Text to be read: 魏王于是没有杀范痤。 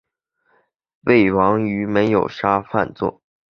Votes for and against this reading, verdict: 2, 0, accepted